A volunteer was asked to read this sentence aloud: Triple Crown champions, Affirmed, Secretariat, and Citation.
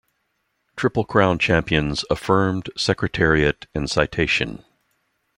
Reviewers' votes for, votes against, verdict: 2, 0, accepted